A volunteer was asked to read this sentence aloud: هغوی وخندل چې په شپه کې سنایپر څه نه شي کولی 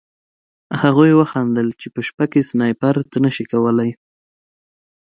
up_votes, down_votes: 2, 0